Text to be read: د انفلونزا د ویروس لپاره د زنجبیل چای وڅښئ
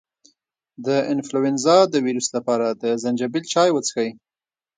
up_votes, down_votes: 2, 1